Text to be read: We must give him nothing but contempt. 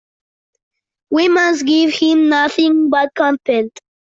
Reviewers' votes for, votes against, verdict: 2, 1, accepted